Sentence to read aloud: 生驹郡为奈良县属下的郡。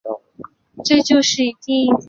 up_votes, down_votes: 0, 2